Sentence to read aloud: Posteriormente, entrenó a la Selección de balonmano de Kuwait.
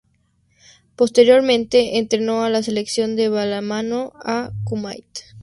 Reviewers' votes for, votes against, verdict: 4, 0, accepted